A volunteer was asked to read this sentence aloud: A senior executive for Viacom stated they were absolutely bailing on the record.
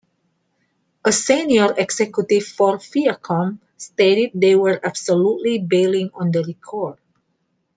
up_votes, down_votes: 2, 0